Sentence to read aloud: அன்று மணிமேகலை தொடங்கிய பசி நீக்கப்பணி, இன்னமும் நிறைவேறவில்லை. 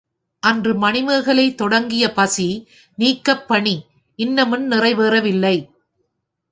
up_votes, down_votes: 3, 1